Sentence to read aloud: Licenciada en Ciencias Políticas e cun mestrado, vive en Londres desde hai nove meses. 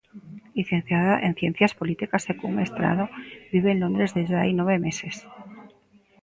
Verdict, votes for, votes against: rejected, 0, 2